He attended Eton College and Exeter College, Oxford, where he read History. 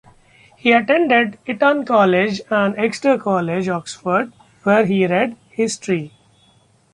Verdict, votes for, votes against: accepted, 2, 1